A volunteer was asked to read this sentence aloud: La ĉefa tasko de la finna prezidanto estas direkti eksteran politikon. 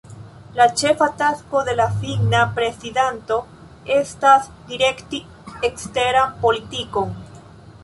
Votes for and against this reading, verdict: 0, 2, rejected